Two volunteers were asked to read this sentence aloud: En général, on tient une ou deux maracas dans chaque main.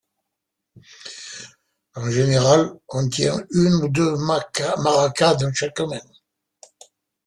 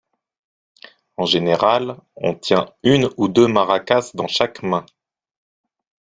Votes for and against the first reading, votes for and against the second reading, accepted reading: 1, 2, 2, 0, second